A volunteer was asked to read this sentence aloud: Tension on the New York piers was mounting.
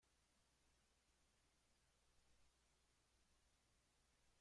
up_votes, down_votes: 0, 2